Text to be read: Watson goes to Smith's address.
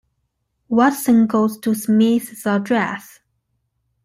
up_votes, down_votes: 2, 0